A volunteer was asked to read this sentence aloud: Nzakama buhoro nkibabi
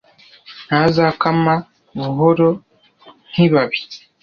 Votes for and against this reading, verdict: 1, 2, rejected